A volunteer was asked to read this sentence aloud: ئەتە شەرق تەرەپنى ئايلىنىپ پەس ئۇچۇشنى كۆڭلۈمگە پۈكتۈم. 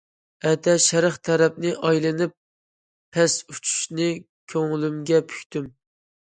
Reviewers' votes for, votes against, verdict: 2, 0, accepted